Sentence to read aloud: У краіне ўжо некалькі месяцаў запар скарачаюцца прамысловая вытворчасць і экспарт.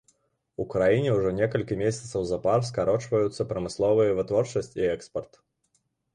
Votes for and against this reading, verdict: 1, 2, rejected